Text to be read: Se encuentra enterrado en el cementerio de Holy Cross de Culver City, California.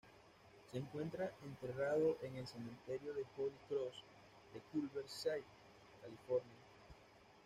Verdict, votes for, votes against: rejected, 0, 2